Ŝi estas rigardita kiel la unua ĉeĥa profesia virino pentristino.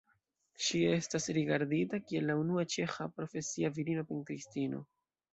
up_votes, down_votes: 2, 0